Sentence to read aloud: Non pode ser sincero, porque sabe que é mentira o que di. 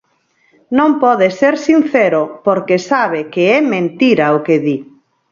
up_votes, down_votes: 4, 0